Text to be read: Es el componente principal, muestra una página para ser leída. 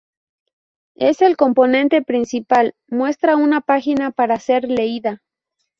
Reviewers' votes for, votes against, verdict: 2, 0, accepted